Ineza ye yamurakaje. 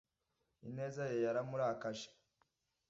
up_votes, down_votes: 0, 2